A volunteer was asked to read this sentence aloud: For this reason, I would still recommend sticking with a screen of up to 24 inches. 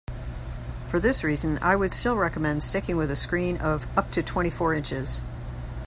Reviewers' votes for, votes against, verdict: 0, 2, rejected